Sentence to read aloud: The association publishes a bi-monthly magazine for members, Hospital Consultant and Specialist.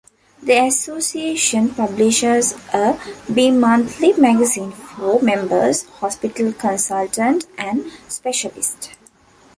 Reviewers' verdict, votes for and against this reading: accepted, 2, 0